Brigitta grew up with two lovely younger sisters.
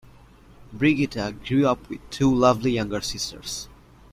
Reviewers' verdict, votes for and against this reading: accepted, 2, 0